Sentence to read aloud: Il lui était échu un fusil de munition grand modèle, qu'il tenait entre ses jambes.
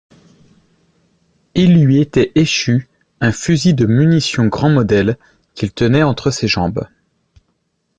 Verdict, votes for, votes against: accepted, 2, 0